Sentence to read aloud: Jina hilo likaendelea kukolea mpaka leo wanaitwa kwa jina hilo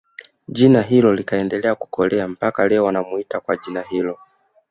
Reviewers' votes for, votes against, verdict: 2, 0, accepted